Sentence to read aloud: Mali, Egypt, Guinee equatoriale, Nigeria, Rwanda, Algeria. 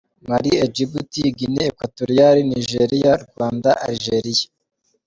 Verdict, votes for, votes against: accepted, 2, 0